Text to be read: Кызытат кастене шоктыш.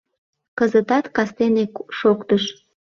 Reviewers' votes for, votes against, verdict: 1, 2, rejected